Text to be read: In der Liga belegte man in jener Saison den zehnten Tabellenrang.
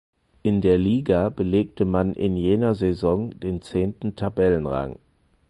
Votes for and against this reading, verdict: 4, 0, accepted